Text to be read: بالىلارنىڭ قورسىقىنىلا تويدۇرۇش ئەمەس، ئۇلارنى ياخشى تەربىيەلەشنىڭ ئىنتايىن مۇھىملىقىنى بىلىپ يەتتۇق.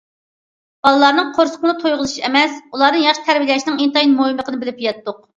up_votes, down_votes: 1, 2